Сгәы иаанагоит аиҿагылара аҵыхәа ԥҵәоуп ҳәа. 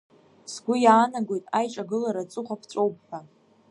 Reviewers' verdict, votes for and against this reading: accepted, 2, 0